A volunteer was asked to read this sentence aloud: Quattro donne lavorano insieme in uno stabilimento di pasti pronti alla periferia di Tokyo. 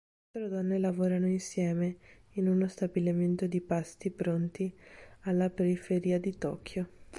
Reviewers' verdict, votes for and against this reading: rejected, 1, 2